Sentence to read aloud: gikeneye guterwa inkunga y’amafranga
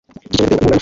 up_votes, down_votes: 0, 2